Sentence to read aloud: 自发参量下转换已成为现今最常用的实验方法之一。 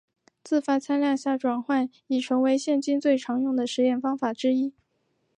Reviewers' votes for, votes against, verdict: 3, 1, accepted